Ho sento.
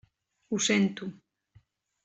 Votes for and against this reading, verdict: 3, 0, accepted